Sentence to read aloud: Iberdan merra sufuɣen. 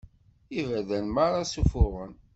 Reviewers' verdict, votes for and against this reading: accepted, 2, 0